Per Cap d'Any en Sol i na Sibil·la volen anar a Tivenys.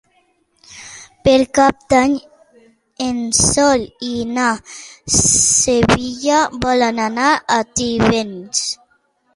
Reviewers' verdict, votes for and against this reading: rejected, 0, 2